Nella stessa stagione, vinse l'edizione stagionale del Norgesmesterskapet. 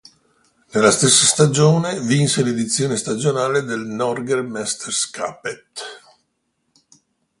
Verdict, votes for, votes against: rejected, 1, 2